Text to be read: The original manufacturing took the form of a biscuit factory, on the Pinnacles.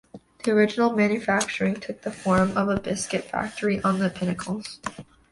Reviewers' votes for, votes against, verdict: 2, 1, accepted